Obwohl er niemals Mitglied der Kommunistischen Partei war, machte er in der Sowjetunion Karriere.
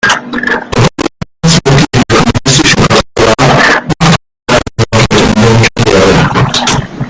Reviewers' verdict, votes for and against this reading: rejected, 0, 2